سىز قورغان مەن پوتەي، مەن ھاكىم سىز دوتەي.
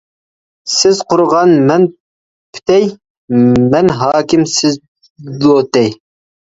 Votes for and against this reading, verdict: 0, 2, rejected